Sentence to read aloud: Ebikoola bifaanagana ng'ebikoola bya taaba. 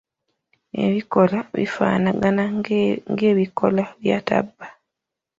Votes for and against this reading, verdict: 1, 2, rejected